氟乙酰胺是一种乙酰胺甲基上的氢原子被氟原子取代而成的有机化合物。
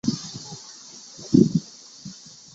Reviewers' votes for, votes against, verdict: 0, 2, rejected